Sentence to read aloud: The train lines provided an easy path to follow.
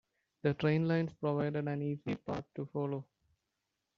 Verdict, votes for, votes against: rejected, 1, 2